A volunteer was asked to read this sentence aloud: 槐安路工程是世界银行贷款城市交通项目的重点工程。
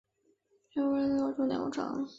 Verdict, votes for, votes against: rejected, 0, 2